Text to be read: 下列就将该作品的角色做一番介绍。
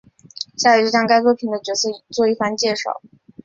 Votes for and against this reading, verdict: 1, 2, rejected